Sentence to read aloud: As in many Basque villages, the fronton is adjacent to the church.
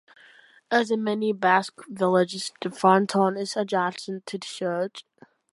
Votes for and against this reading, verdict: 2, 1, accepted